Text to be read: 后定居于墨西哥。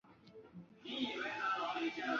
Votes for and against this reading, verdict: 1, 3, rejected